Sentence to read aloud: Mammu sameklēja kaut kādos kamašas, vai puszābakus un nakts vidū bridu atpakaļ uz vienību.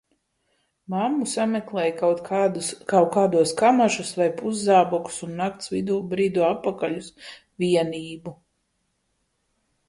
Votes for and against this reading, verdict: 0, 2, rejected